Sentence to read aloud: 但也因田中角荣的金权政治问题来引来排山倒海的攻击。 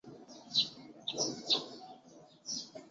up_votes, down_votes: 1, 2